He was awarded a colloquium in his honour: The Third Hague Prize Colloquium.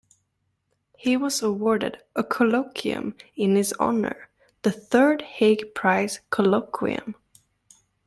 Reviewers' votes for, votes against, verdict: 2, 0, accepted